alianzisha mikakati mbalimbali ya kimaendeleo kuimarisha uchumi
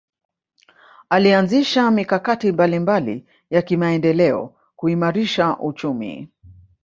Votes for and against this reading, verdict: 1, 2, rejected